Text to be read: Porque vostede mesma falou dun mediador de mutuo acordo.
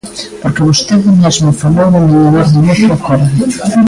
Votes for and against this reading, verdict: 0, 2, rejected